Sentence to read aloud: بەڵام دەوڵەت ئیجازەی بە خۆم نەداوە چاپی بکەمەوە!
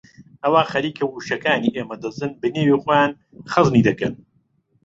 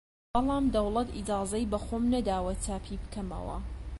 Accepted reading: second